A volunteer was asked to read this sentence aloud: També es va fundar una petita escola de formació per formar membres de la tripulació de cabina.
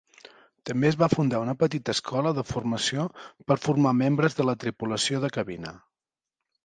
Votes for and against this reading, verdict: 4, 0, accepted